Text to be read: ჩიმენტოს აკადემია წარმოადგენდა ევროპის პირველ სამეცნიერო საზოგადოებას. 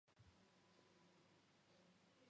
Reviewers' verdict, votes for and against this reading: rejected, 0, 2